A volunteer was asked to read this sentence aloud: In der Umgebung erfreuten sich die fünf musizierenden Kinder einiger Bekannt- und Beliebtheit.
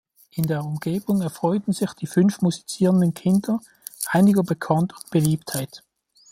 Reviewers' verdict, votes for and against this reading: accepted, 2, 0